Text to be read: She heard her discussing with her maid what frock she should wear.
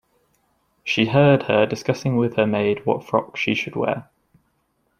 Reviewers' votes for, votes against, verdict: 2, 0, accepted